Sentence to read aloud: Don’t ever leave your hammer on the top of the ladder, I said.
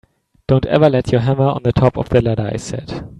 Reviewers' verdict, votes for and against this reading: rejected, 0, 2